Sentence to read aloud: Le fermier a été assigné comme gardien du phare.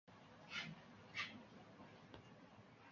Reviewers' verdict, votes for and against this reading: rejected, 0, 2